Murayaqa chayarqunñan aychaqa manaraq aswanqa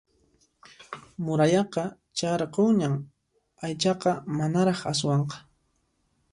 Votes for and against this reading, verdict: 2, 0, accepted